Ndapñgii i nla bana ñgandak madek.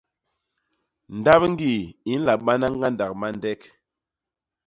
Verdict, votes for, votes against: rejected, 0, 2